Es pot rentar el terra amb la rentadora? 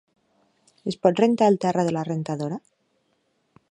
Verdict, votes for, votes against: rejected, 1, 2